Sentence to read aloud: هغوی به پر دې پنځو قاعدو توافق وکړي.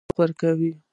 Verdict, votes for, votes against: rejected, 0, 2